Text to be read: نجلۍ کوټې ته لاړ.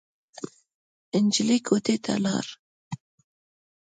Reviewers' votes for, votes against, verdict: 2, 0, accepted